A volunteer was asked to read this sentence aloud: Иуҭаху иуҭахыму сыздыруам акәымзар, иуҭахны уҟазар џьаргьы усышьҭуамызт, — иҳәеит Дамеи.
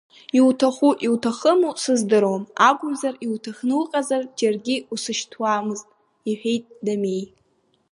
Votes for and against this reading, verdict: 2, 1, accepted